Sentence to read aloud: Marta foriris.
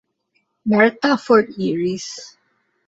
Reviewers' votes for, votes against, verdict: 1, 2, rejected